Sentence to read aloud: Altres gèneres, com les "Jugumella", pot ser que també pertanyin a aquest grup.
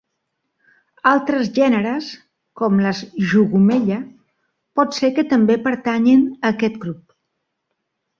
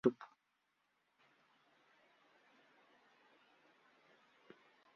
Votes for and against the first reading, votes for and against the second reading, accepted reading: 2, 0, 1, 2, first